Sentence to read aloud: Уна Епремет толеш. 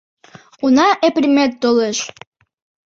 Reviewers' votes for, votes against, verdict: 1, 2, rejected